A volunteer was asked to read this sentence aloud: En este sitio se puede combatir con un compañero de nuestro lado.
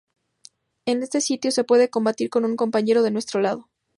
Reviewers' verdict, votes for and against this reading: accepted, 2, 0